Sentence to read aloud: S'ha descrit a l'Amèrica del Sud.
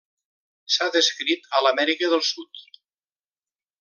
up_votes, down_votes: 3, 0